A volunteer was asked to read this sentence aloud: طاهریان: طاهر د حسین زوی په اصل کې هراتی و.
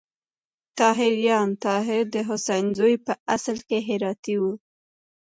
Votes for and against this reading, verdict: 2, 0, accepted